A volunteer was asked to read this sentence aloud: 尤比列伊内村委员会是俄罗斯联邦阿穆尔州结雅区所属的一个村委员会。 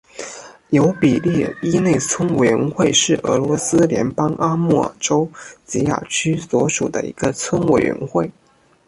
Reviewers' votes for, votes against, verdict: 2, 0, accepted